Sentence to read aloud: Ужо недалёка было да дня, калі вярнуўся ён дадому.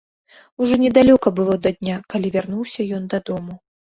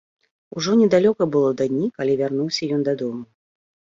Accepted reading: first